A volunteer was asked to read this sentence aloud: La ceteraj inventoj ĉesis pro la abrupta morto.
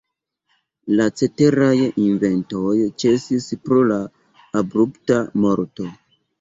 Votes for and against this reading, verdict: 0, 2, rejected